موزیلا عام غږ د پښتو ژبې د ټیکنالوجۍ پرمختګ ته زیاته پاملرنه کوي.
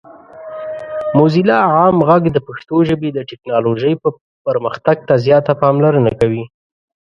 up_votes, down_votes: 0, 2